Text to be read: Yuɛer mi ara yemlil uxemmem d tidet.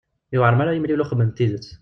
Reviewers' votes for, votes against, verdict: 1, 2, rejected